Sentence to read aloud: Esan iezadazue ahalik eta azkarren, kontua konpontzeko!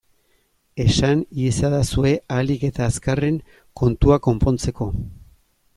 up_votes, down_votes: 2, 0